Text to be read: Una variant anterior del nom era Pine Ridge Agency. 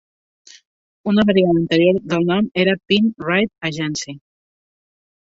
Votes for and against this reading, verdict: 3, 0, accepted